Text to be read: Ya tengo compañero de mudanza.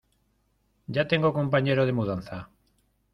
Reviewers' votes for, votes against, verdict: 2, 0, accepted